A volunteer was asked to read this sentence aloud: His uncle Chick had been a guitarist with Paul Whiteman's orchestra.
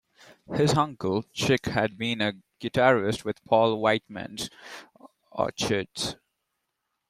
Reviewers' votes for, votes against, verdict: 0, 2, rejected